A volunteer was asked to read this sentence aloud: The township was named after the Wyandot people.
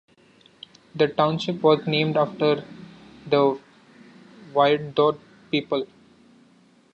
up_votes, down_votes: 2, 1